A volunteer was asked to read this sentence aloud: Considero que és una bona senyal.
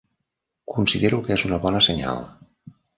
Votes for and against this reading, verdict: 3, 0, accepted